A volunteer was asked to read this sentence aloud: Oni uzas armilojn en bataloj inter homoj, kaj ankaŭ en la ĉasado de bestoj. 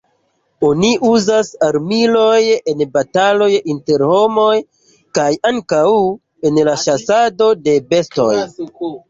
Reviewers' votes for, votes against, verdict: 1, 2, rejected